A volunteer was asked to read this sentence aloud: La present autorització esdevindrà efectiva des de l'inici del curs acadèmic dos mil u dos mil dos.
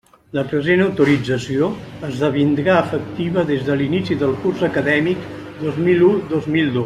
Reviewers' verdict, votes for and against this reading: accepted, 3, 1